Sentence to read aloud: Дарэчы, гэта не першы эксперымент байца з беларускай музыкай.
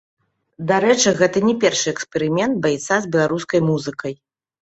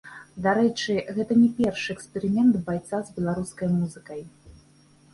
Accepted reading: second